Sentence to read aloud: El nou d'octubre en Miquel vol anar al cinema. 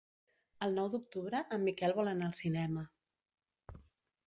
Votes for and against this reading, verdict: 2, 0, accepted